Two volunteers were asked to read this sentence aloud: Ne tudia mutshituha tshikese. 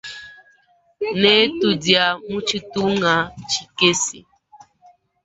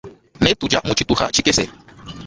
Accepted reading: second